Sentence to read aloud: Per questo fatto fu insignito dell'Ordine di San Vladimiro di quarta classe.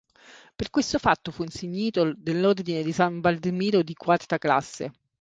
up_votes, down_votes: 0, 3